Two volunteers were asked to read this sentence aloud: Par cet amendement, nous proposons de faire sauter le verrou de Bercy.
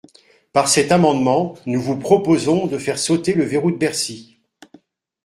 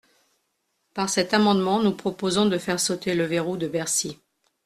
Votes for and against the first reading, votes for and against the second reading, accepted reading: 0, 2, 2, 0, second